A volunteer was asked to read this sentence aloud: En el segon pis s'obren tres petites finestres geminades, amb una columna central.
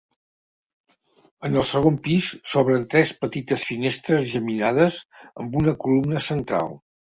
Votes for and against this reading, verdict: 2, 0, accepted